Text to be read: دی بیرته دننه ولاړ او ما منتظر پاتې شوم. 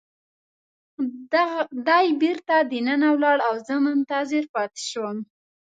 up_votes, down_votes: 2, 0